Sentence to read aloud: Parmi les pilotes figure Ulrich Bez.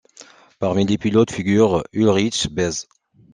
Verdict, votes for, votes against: rejected, 0, 2